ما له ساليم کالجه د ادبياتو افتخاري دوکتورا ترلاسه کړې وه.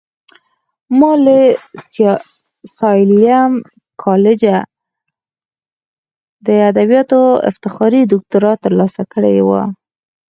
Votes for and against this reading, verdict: 2, 4, rejected